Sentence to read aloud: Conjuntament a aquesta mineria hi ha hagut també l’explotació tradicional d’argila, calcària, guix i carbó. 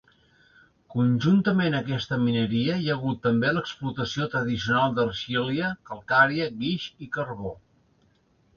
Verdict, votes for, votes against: rejected, 0, 2